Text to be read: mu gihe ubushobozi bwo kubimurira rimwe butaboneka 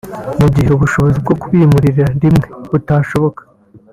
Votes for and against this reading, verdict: 1, 2, rejected